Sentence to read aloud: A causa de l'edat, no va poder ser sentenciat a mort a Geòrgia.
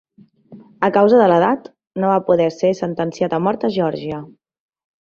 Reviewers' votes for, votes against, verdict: 3, 0, accepted